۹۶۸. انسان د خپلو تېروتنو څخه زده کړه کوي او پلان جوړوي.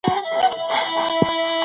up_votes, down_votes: 0, 2